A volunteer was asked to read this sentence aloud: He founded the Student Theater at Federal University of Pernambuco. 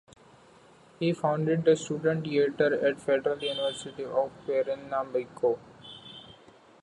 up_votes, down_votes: 0, 2